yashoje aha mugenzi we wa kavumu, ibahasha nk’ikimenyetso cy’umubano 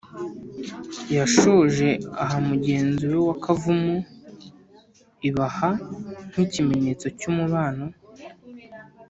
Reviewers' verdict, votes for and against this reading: rejected, 1, 2